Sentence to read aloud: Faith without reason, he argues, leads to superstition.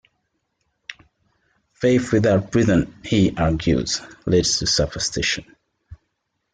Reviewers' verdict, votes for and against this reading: accepted, 2, 1